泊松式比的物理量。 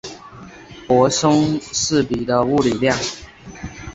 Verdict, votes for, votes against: accepted, 2, 0